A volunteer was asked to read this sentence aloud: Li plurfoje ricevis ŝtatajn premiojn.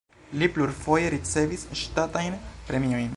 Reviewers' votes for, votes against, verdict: 2, 0, accepted